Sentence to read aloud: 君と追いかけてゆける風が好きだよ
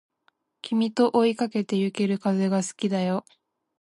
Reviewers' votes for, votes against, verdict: 2, 0, accepted